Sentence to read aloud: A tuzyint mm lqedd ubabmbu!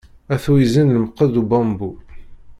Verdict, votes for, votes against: rejected, 1, 2